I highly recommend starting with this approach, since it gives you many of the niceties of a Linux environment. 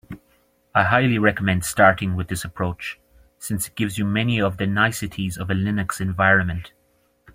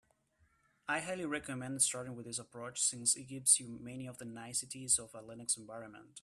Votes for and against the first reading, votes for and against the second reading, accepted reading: 2, 0, 0, 2, first